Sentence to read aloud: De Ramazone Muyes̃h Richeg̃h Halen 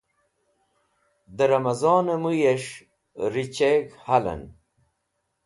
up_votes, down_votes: 2, 0